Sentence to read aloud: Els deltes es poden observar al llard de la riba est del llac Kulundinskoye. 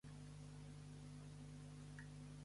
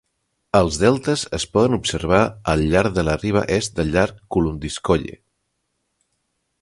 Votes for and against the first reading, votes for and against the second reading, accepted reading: 0, 2, 2, 0, second